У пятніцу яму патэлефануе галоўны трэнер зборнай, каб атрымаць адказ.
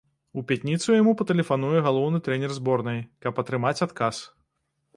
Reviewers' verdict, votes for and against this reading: rejected, 1, 2